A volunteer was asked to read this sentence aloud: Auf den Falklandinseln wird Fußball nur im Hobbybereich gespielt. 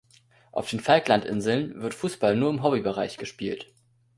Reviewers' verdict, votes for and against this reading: accepted, 2, 0